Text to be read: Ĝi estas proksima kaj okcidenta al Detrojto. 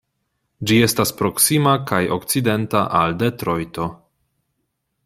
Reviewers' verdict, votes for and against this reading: accepted, 2, 0